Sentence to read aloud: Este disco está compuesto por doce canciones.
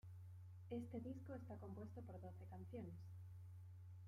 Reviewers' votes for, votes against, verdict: 2, 1, accepted